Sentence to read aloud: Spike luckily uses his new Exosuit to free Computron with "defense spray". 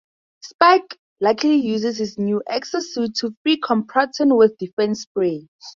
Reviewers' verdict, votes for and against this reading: rejected, 2, 2